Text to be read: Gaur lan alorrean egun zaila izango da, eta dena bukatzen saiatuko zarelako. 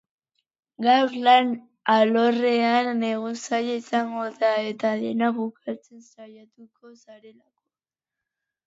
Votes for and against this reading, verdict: 0, 2, rejected